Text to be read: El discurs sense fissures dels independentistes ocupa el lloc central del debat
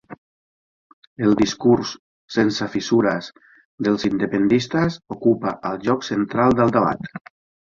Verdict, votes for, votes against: rejected, 0, 2